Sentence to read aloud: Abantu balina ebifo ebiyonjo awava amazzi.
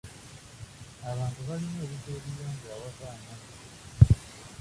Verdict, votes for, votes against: rejected, 1, 2